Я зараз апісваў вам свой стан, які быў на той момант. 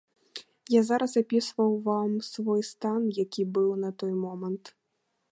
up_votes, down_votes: 2, 0